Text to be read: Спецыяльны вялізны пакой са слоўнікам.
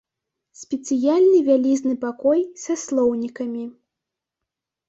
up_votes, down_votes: 0, 2